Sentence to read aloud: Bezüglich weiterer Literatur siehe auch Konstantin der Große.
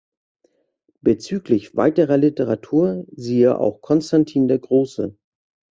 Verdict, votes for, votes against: accepted, 2, 0